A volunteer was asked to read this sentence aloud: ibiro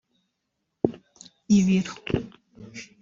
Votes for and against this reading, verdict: 1, 2, rejected